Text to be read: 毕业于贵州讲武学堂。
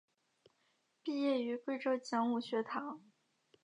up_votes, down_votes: 3, 0